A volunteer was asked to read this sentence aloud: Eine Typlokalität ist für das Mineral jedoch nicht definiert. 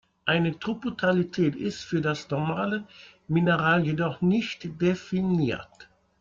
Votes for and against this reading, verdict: 0, 2, rejected